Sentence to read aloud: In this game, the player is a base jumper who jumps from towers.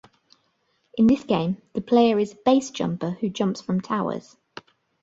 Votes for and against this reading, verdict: 1, 2, rejected